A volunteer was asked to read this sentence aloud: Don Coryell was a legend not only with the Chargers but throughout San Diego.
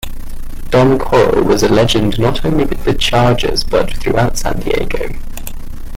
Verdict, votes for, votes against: rejected, 1, 2